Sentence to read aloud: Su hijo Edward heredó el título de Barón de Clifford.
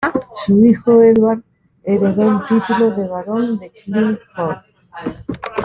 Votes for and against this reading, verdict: 1, 2, rejected